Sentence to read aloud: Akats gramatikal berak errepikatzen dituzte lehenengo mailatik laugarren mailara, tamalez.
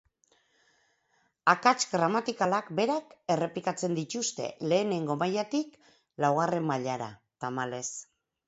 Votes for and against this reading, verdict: 0, 4, rejected